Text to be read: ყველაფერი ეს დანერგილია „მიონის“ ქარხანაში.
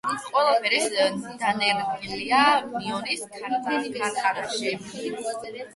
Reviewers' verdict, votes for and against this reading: rejected, 4, 8